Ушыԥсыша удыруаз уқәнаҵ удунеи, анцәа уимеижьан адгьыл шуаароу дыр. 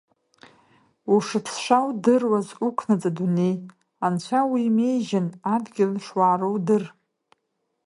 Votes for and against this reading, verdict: 0, 2, rejected